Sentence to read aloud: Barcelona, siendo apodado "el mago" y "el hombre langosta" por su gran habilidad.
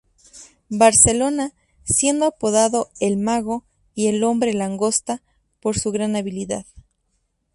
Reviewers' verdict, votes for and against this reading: accepted, 2, 0